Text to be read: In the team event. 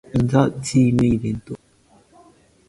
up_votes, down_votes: 1, 2